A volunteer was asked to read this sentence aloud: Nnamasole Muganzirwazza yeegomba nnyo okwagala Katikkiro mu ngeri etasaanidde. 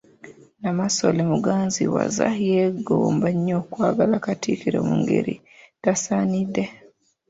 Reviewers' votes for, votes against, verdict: 1, 2, rejected